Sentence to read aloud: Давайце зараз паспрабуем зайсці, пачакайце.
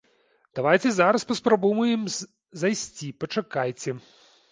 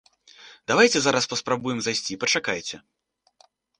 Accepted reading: second